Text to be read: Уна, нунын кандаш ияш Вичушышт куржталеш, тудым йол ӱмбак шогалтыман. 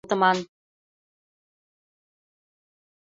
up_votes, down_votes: 0, 2